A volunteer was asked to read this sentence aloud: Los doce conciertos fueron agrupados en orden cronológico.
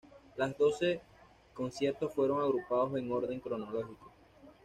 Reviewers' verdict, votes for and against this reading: rejected, 1, 2